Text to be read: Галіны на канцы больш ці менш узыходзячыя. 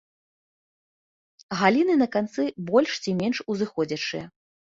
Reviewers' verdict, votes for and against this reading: accepted, 2, 0